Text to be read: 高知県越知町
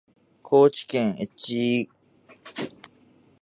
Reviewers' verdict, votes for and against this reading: rejected, 1, 2